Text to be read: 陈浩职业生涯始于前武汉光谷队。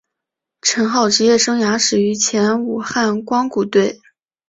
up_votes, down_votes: 4, 0